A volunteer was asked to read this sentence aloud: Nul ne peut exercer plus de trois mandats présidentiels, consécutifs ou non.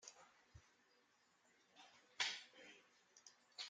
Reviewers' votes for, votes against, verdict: 0, 2, rejected